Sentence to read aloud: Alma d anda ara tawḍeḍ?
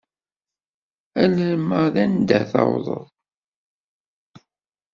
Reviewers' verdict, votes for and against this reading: rejected, 1, 2